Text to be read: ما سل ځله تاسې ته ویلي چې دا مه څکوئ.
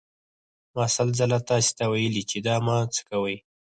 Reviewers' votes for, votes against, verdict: 0, 4, rejected